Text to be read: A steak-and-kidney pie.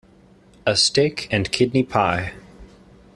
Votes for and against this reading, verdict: 2, 0, accepted